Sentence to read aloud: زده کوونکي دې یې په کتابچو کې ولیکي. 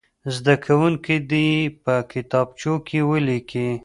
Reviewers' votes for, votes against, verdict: 2, 1, accepted